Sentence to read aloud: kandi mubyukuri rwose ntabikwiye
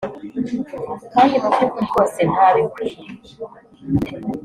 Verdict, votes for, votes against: accepted, 2, 1